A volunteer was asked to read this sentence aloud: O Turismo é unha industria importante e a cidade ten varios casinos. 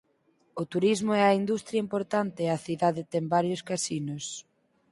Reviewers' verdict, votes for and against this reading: rejected, 2, 4